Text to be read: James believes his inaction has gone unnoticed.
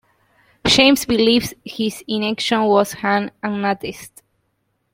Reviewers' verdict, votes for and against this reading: rejected, 0, 2